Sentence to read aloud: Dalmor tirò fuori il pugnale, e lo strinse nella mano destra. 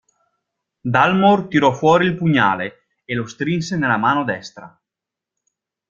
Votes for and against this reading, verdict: 2, 0, accepted